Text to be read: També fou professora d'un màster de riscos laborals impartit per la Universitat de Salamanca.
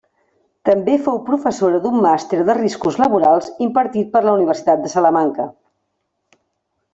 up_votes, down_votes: 4, 0